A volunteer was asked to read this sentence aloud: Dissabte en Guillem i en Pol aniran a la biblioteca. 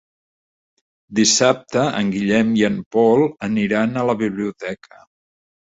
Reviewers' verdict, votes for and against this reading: accepted, 4, 0